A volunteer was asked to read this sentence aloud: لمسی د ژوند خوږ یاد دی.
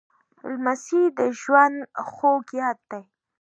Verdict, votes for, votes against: accepted, 2, 0